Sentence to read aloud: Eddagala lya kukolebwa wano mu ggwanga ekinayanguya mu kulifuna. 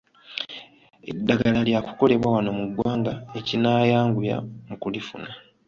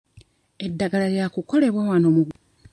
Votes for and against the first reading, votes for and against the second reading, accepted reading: 2, 0, 0, 2, first